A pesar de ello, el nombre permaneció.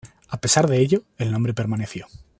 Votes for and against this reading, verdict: 2, 0, accepted